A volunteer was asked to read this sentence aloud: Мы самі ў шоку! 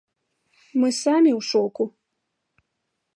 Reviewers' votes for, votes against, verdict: 2, 0, accepted